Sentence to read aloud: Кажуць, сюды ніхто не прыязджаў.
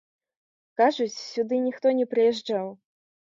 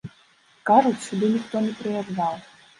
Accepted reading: first